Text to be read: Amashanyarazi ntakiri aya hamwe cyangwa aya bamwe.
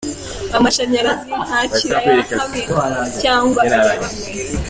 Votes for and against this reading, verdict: 2, 0, accepted